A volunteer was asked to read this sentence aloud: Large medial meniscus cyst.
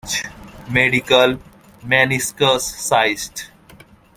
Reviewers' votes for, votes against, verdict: 0, 2, rejected